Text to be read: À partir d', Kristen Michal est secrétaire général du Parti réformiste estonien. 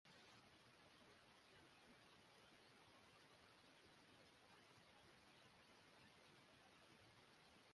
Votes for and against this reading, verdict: 0, 2, rejected